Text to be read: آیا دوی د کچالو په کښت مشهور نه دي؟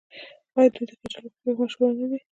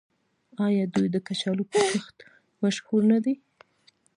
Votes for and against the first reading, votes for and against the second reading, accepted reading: 1, 2, 2, 0, second